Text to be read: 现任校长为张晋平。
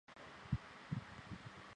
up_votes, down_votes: 0, 2